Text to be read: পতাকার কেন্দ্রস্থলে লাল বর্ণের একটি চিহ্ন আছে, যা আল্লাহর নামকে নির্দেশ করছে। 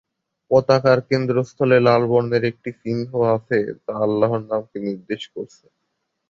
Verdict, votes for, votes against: rejected, 0, 2